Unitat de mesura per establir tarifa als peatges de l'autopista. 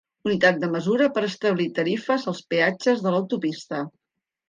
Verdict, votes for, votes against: rejected, 1, 2